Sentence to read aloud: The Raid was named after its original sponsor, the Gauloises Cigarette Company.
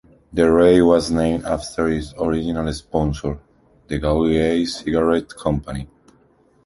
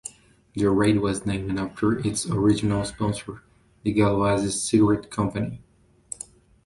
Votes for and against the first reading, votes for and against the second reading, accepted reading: 0, 2, 2, 0, second